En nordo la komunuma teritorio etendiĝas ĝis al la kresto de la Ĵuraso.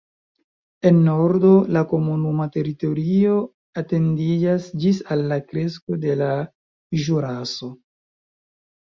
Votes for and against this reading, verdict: 0, 3, rejected